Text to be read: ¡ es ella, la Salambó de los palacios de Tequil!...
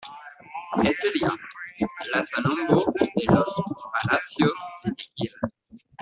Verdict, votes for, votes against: rejected, 1, 2